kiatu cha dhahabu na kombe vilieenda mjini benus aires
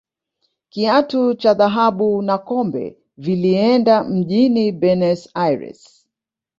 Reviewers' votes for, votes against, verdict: 0, 2, rejected